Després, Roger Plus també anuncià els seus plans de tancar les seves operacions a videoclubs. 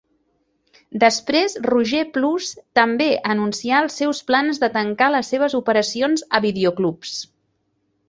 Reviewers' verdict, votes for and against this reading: accepted, 3, 0